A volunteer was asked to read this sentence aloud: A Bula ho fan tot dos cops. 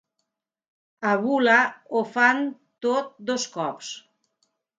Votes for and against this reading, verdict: 2, 0, accepted